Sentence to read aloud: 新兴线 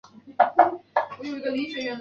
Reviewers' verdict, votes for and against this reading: rejected, 0, 2